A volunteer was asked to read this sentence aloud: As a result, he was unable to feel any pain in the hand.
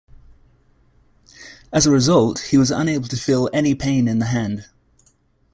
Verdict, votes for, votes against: accepted, 2, 0